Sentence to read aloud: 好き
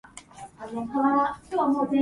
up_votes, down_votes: 4, 16